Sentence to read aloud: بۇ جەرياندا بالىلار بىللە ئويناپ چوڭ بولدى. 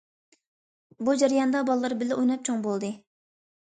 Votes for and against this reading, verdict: 2, 0, accepted